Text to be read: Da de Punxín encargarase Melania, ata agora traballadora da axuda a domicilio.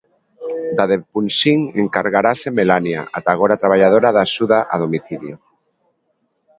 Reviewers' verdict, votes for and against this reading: accepted, 2, 1